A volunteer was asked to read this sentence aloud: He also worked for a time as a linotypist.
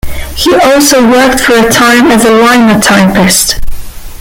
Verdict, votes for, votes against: rejected, 0, 2